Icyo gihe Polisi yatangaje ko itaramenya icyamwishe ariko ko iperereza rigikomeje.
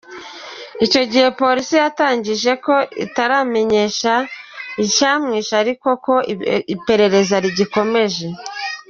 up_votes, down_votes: 0, 2